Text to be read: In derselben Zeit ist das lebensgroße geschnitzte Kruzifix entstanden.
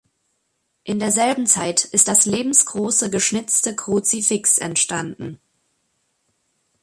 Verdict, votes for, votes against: accepted, 2, 0